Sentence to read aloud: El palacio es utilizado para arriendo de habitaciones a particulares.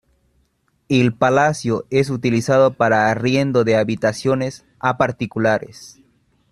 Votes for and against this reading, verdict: 2, 0, accepted